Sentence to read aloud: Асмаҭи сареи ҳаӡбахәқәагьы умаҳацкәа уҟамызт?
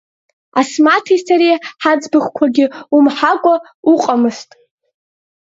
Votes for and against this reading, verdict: 0, 2, rejected